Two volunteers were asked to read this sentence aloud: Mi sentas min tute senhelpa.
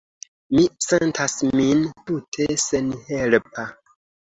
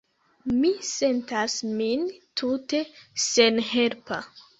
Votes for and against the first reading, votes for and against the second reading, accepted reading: 2, 0, 0, 2, first